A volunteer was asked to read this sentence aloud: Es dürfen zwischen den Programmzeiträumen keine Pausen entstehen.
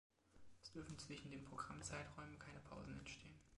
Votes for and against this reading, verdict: 2, 1, accepted